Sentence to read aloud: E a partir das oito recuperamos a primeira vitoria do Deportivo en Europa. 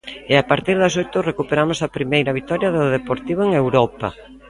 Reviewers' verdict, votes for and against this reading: accepted, 2, 0